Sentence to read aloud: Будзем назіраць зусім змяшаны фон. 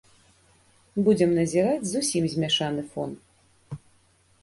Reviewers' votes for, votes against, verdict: 2, 0, accepted